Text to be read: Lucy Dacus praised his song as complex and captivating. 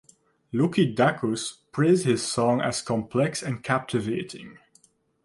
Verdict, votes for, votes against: rejected, 0, 2